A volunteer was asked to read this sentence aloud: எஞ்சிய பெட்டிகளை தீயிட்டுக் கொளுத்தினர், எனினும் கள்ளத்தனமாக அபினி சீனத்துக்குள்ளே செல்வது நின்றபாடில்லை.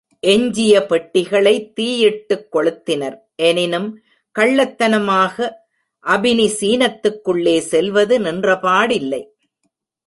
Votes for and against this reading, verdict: 2, 0, accepted